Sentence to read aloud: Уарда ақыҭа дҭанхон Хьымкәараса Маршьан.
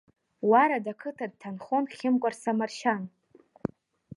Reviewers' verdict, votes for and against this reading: accepted, 2, 1